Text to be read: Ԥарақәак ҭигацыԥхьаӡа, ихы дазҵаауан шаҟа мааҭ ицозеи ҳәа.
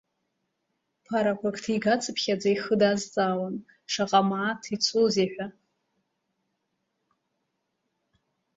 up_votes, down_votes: 1, 2